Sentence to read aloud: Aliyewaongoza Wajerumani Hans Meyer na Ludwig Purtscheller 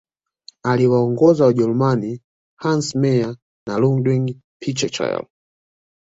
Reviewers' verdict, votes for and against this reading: rejected, 0, 2